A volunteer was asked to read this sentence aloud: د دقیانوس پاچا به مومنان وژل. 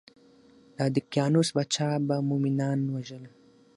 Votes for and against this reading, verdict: 6, 0, accepted